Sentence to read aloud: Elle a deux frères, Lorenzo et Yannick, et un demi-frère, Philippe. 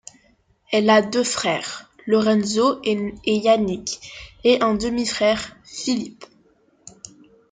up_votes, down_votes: 1, 2